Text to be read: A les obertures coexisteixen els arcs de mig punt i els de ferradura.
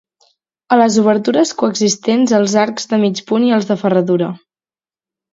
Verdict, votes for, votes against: rejected, 2, 4